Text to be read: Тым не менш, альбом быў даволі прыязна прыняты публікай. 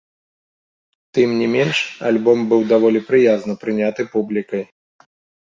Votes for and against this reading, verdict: 2, 0, accepted